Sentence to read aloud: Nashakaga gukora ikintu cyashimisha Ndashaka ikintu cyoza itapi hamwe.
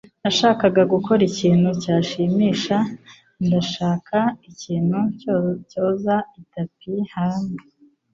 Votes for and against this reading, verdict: 2, 3, rejected